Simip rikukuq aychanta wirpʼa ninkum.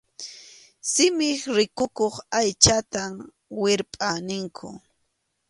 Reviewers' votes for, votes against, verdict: 2, 0, accepted